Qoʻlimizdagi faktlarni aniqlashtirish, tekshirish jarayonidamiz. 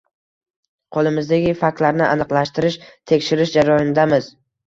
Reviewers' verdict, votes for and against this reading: rejected, 0, 2